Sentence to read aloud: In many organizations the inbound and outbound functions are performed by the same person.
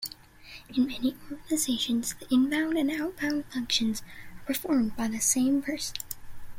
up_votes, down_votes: 1, 2